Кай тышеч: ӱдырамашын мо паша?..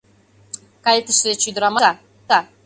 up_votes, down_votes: 0, 2